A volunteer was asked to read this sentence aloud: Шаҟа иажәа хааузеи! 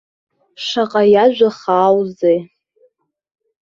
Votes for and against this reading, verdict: 2, 0, accepted